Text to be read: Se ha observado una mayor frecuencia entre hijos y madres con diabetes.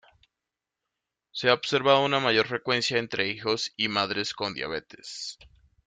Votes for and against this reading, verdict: 2, 0, accepted